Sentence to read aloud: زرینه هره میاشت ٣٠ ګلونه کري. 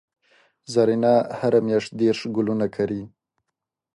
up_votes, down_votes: 0, 2